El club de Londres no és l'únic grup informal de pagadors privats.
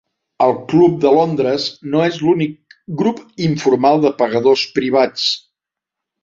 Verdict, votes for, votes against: accepted, 3, 0